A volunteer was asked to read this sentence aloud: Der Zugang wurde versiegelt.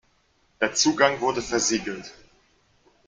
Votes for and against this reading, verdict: 2, 0, accepted